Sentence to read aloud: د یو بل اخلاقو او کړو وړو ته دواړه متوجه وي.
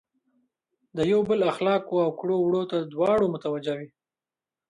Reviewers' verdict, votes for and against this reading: accepted, 2, 0